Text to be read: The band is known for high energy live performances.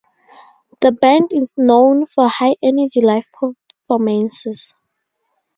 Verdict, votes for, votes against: accepted, 4, 0